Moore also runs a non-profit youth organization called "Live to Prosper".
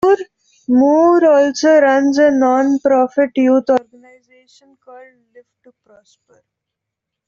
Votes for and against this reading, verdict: 0, 2, rejected